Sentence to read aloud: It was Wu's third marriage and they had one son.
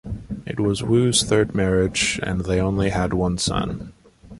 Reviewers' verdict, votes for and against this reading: rejected, 0, 2